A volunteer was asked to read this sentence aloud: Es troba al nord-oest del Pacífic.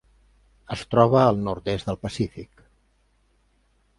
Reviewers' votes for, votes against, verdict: 1, 2, rejected